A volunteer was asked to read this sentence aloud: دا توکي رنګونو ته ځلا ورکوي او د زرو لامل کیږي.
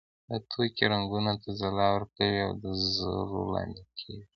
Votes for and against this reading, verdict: 2, 1, accepted